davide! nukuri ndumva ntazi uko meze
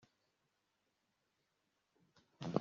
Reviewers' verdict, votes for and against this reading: rejected, 0, 2